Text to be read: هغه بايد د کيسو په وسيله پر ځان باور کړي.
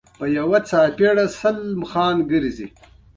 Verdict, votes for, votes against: rejected, 1, 2